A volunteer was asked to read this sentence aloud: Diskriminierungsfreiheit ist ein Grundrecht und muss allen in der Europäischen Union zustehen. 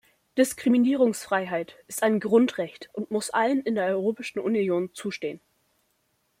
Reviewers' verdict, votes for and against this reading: rejected, 0, 2